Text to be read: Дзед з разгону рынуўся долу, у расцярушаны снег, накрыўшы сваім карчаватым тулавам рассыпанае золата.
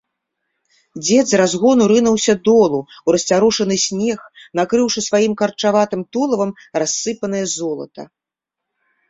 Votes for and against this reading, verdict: 2, 0, accepted